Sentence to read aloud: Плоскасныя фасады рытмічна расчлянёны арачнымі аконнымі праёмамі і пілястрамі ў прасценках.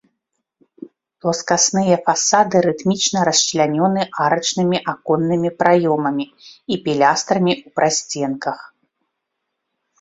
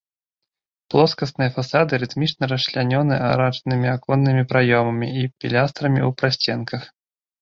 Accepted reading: first